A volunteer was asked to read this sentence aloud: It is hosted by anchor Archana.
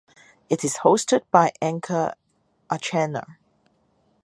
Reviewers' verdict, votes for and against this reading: accepted, 4, 0